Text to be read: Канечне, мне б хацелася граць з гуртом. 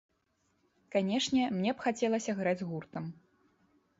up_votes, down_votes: 2, 0